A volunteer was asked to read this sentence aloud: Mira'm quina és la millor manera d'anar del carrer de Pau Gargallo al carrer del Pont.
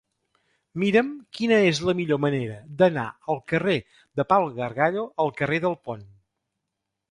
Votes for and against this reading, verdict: 0, 2, rejected